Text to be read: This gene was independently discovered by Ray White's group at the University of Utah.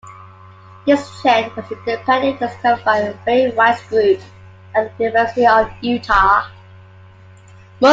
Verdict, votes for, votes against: rejected, 0, 2